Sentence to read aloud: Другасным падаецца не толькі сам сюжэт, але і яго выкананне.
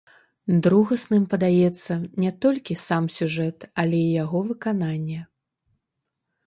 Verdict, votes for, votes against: rejected, 1, 2